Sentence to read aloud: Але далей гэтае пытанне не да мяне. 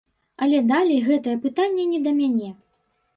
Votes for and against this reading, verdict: 2, 0, accepted